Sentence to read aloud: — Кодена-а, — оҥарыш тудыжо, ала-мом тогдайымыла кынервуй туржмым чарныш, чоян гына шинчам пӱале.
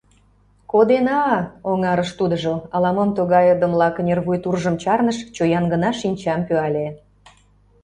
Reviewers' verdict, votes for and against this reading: rejected, 0, 2